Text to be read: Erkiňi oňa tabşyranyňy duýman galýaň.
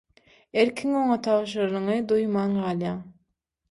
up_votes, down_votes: 0, 6